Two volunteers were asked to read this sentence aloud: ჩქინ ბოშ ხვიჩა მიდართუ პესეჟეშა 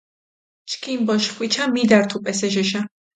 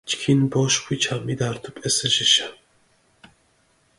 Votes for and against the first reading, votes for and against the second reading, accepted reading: 2, 0, 0, 2, first